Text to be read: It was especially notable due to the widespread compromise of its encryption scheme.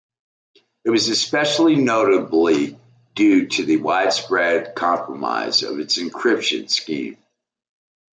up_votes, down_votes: 1, 2